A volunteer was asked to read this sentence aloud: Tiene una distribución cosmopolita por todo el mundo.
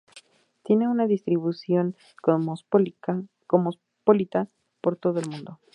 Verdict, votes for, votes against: rejected, 0, 2